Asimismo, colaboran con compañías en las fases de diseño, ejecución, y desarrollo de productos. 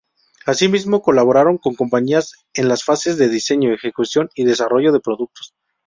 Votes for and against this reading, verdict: 2, 2, rejected